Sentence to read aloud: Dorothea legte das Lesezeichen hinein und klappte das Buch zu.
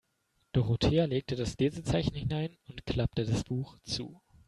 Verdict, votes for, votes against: accepted, 2, 0